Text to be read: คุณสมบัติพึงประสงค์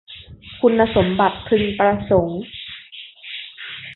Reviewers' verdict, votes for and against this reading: rejected, 1, 2